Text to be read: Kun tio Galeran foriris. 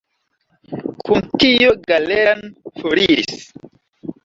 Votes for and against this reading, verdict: 1, 2, rejected